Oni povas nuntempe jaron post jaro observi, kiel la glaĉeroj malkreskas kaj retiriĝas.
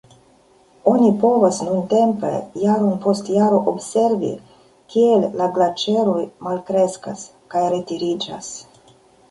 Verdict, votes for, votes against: accepted, 2, 1